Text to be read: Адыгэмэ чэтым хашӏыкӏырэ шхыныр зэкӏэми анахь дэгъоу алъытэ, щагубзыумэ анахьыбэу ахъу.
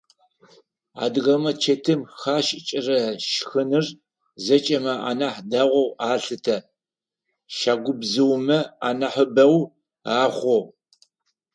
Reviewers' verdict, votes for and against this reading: accepted, 4, 0